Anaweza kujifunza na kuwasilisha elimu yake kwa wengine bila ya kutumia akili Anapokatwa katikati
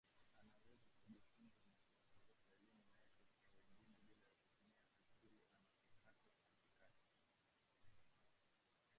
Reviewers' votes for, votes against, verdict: 0, 2, rejected